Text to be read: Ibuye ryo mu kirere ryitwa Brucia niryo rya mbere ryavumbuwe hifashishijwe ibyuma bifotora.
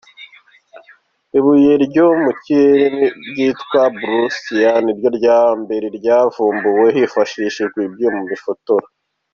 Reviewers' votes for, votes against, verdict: 2, 0, accepted